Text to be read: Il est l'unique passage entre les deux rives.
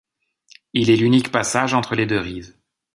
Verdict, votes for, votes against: accepted, 2, 0